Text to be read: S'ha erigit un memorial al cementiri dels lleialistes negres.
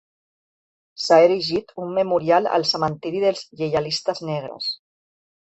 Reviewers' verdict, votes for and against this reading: accepted, 4, 0